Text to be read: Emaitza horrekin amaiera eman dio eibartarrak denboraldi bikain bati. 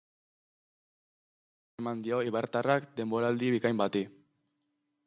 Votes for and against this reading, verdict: 0, 2, rejected